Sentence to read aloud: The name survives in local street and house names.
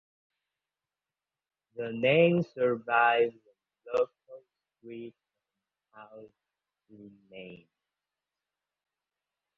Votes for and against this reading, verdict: 0, 2, rejected